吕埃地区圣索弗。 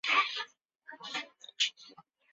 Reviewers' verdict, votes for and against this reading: rejected, 0, 5